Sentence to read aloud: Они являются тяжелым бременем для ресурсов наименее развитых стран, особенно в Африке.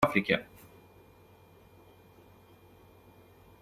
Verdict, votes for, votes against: rejected, 0, 2